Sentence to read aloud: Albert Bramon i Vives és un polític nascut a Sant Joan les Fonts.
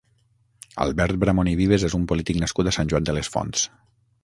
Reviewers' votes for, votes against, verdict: 3, 6, rejected